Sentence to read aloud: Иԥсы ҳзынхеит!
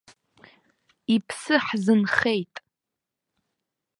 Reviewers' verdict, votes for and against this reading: accepted, 2, 0